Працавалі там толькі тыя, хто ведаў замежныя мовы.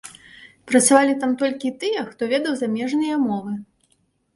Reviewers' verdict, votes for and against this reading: accepted, 2, 0